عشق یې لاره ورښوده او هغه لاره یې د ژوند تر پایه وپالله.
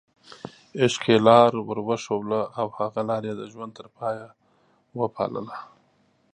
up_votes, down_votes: 1, 2